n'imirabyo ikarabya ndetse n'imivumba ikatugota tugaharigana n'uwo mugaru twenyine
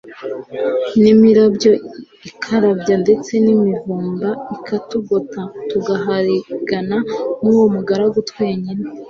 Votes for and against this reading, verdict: 2, 0, accepted